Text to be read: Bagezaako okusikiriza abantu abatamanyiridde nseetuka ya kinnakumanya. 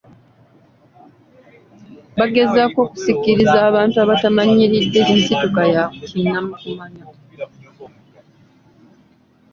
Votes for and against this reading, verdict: 1, 2, rejected